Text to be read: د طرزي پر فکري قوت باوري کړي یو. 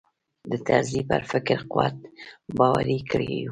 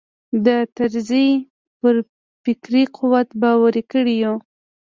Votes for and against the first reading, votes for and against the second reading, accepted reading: 1, 2, 2, 1, second